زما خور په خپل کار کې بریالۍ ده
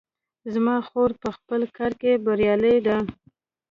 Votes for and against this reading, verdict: 2, 1, accepted